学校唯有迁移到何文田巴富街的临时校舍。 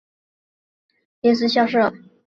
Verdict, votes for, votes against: rejected, 0, 2